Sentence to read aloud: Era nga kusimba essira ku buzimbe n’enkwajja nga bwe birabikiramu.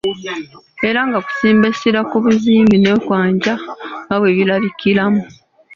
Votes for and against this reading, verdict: 1, 2, rejected